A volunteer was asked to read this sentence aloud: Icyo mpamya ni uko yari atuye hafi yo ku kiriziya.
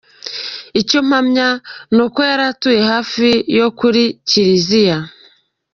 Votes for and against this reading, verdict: 2, 1, accepted